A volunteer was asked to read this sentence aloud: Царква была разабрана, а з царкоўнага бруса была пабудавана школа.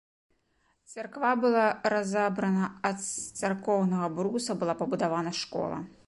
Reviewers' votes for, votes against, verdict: 1, 2, rejected